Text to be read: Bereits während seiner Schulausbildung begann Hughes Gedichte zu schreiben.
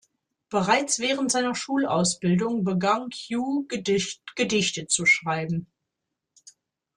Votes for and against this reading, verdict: 0, 2, rejected